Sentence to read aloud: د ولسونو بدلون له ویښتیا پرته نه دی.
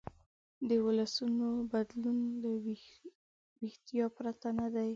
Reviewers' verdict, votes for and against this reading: accepted, 5, 0